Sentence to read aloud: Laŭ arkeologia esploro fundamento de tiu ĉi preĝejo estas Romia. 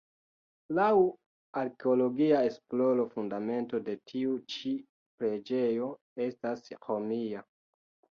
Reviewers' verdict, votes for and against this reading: accepted, 2, 1